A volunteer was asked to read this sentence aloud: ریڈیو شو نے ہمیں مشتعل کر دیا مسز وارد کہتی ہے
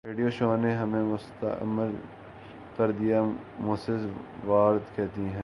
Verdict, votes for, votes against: rejected, 1, 2